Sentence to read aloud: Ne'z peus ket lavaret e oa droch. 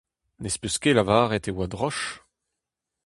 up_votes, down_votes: 2, 0